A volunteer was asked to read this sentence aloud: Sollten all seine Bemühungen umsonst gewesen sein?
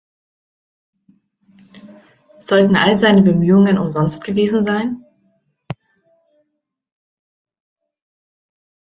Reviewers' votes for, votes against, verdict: 2, 0, accepted